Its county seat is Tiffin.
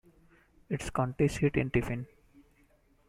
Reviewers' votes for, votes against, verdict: 1, 2, rejected